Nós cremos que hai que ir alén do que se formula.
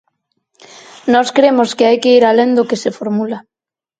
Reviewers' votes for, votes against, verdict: 4, 0, accepted